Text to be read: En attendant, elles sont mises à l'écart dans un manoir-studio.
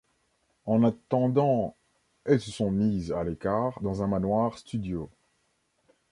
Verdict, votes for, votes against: accepted, 2, 1